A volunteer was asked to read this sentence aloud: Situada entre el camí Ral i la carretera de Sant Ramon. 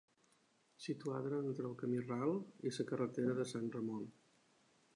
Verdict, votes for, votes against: rejected, 0, 2